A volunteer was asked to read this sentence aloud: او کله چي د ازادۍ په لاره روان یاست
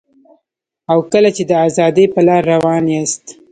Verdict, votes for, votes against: rejected, 1, 2